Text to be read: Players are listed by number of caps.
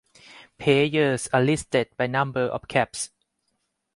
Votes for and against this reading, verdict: 0, 2, rejected